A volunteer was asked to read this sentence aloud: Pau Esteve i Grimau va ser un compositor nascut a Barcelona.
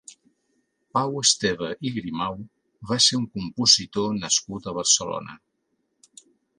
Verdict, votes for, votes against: accepted, 3, 0